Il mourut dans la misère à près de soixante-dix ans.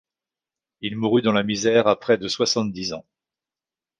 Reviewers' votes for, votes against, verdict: 2, 0, accepted